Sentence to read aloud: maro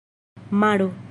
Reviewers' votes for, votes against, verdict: 1, 2, rejected